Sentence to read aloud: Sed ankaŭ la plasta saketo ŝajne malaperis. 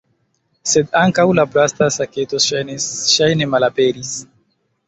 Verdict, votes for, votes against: rejected, 1, 2